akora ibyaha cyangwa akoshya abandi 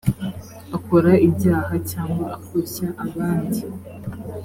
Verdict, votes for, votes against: accepted, 2, 0